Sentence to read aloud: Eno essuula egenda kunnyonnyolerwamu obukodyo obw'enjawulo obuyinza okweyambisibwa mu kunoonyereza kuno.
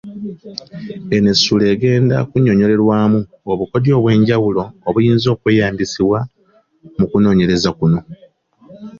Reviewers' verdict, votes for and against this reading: accepted, 2, 0